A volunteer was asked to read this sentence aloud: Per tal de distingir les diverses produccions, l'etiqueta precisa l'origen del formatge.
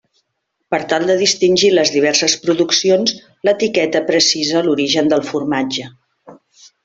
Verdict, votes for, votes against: accepted, 3, 0